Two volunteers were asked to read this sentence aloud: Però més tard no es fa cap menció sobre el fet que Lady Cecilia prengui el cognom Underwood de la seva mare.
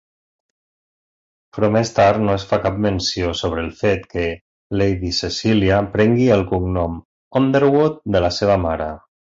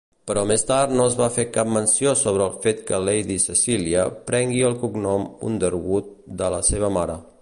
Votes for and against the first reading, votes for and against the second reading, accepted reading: 3, 0, 0, 2, first